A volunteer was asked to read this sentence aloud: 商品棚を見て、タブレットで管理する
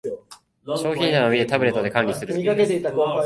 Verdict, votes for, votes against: rejected, 0, 3